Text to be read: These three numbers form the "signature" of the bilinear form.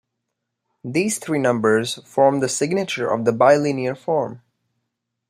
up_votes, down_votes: 2, 0